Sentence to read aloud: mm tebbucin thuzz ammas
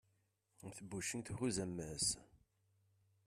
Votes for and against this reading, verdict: 1, 2, rejected